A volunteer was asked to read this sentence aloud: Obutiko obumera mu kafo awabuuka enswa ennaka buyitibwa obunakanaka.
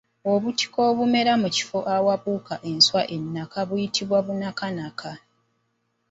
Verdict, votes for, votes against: rejected, 0, 2